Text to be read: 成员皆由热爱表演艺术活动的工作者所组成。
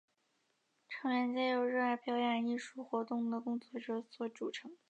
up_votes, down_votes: 2, 1